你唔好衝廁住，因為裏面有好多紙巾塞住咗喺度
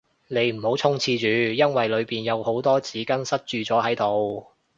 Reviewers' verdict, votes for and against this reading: rejected, 0, 2